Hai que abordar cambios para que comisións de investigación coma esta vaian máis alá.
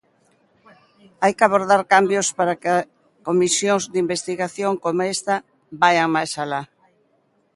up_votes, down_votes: 0, 2